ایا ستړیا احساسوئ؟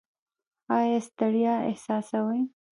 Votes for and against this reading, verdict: 2, 0, accepted